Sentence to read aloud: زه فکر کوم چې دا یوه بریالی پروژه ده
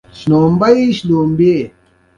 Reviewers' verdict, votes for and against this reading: accepted, 2, 1